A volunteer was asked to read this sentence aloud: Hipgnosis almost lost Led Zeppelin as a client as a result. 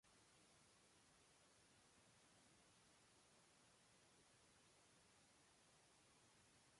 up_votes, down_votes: 0, 2